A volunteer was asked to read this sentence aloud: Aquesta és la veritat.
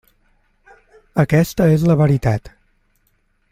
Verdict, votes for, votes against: accepted, 3, 0